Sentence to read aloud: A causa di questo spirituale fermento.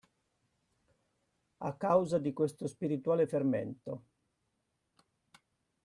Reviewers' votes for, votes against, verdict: 2, 0, accepted